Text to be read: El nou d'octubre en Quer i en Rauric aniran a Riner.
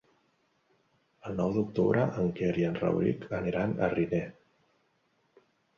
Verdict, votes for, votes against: accepted, 4, 0